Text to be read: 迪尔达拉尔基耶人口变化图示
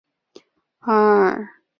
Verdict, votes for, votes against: rejected, 0, 2